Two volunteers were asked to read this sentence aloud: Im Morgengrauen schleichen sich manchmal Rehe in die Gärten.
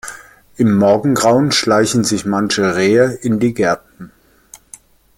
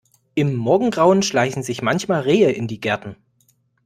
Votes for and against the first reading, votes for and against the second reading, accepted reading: 1, 2, 2, 0, second